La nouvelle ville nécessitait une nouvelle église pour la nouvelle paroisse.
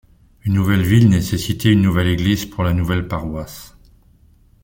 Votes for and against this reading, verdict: 0, 2, rejected